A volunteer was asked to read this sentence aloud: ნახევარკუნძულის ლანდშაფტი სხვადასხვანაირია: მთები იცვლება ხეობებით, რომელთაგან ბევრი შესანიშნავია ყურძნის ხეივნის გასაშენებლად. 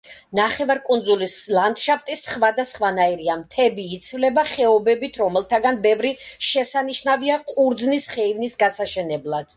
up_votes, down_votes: 2, 0